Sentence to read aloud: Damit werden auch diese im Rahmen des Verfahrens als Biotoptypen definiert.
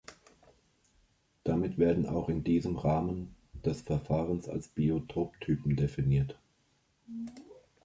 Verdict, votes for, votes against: rejected, 0, 3